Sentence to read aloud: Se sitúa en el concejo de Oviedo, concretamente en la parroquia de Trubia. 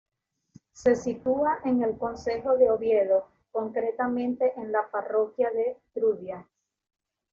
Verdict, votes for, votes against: accepted, 2, 0